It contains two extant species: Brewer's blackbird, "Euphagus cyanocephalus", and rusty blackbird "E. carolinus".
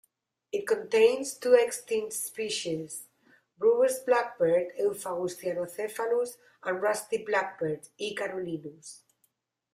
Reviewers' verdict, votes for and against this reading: rejected, 1, 2